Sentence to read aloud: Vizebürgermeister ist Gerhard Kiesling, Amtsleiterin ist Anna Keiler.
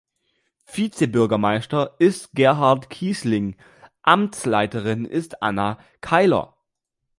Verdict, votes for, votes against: accepted, 2, 0